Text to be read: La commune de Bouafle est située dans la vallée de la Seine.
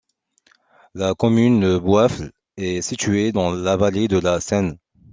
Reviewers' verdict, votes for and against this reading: accepted, 2, 0